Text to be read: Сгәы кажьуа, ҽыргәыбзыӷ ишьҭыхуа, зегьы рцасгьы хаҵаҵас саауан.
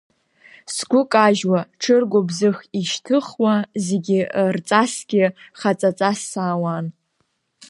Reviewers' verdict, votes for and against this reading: rejected, 1, 2